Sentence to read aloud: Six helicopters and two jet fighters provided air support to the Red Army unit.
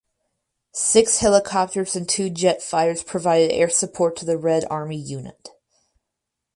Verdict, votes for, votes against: rejected, 2, 2